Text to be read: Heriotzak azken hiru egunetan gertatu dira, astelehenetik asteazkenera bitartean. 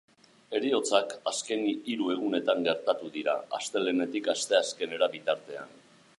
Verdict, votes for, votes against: rejected, 1, 2